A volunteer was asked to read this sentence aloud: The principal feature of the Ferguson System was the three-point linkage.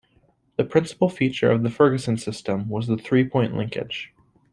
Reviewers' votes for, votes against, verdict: 2, 0, accepted